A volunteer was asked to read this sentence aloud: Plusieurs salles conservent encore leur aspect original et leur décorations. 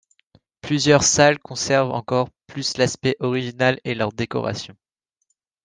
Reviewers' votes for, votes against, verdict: 1, 2, rejected